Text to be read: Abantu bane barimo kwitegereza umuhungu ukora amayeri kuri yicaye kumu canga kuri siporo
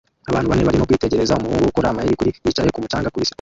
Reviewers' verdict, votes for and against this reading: rejected, 0, 2